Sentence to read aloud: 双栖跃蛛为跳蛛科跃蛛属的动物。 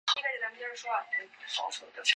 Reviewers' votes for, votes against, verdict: 0, 6, rejected